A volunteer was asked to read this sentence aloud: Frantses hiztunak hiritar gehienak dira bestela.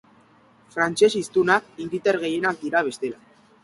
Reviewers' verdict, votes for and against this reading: accepted, 2, 0